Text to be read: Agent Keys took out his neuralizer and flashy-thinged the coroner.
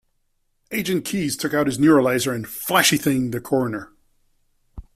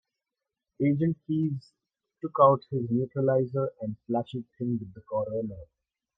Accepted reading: first